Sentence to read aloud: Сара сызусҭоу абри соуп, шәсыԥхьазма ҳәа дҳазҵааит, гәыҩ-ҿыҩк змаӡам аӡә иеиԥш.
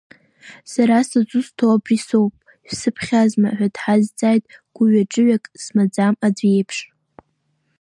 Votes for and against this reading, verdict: 1, 2, rejected